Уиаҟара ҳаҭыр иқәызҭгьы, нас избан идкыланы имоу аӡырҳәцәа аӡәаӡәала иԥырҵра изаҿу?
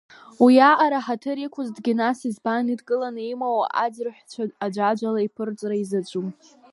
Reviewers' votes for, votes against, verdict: 1, 2, rejected